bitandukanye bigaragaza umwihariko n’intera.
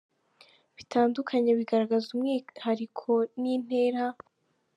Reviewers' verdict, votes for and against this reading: accepted, 2, 0